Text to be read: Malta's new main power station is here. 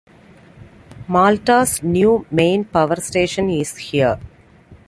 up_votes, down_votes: 2, 0